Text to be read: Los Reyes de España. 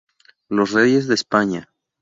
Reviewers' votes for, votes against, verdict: 2, 0, accepted